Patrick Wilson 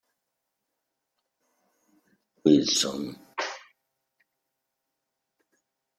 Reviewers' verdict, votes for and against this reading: rejected, 0, 2